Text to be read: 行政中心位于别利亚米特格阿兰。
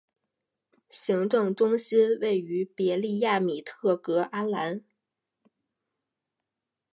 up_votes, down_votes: 4, 2